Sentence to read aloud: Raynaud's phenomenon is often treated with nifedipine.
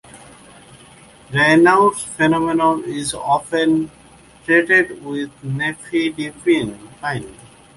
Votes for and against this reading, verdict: 1, 2, rejected